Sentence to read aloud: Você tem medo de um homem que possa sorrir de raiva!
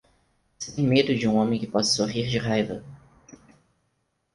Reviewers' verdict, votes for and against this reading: rejected, 2, 4